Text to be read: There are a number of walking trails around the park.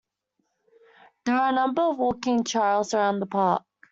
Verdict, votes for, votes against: rejected, 1, 2